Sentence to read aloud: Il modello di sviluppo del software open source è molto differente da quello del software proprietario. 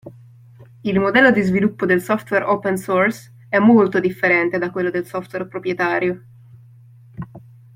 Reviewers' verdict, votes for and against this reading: accepted, 2, 0